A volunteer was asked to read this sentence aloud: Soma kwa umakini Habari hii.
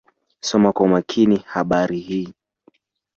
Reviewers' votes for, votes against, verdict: 2, 0, accepted